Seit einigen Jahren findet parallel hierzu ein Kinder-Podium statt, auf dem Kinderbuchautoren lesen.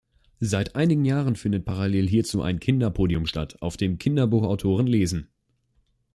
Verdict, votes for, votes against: accepted, 2, 0